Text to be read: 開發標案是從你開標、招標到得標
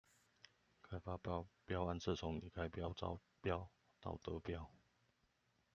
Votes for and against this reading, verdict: 0, 2, rejected